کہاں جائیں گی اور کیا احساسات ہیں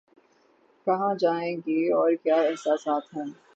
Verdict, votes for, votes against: rejected, 0, 3